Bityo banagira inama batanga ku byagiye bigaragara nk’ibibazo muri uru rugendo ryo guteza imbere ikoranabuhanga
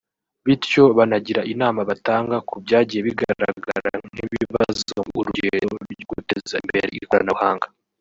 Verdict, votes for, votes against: rejected, 1, 2